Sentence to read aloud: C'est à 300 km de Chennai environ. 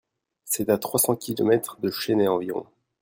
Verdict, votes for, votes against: rejected, 0, 2